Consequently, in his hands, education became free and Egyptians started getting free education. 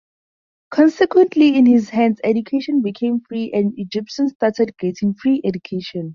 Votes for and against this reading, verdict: 2, 2, rejected